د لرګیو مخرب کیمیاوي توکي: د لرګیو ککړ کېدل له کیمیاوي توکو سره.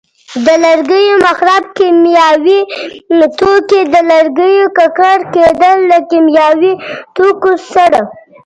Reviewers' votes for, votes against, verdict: 0, 2, rejected